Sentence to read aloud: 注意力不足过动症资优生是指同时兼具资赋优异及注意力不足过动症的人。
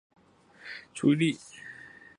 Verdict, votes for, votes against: rejected, 1, 8